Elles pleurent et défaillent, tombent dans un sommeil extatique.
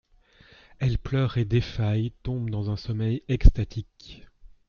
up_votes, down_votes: 2, 0